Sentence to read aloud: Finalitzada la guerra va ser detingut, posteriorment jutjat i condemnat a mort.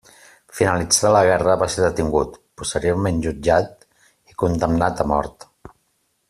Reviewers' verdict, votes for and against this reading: accepted, 2, 1